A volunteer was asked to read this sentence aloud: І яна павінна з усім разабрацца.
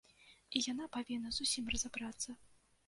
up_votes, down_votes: 2, 0